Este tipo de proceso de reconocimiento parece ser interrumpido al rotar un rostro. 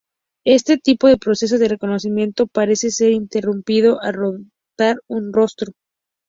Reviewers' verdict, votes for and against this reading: accepted, 2, 0